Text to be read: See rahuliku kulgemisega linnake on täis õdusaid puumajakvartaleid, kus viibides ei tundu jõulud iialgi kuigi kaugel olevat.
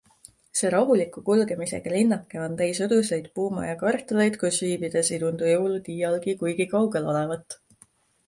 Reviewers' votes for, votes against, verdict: 2, 0, accepted